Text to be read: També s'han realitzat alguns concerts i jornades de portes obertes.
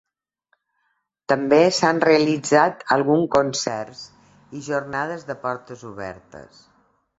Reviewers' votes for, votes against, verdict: 1, 2, rejected